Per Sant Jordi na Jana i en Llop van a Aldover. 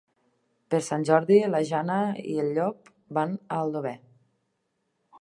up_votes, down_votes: 1, 3